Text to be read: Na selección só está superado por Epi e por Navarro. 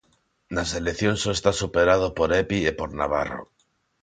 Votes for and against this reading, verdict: 2, 0, accepted